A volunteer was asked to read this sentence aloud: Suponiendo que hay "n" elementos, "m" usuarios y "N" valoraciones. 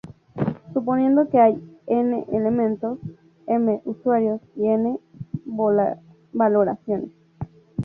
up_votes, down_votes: 2, 4